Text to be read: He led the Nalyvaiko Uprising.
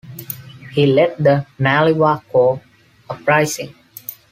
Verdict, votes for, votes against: accepted, 2, 0